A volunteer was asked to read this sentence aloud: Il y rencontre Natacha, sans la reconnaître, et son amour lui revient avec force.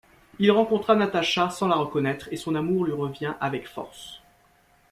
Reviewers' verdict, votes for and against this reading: rejected, 0, 3